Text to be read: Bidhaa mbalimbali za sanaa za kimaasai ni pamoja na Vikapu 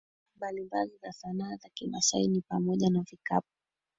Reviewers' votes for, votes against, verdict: 2, 3, rejected